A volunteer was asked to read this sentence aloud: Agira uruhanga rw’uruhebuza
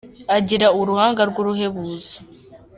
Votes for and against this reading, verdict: 2, 0, accepted